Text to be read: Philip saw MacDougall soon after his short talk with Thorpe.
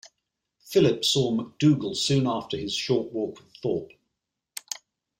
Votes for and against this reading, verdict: 1, 2, rejected